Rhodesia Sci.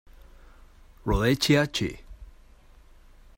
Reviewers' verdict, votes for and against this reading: rejected, 1, 2